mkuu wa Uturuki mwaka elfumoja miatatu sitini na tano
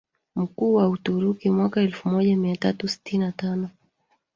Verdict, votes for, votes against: rejected, 0, 2